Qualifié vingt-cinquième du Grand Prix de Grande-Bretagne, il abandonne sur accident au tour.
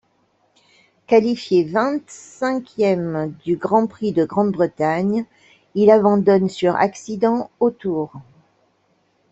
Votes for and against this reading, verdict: 2, 0, accepted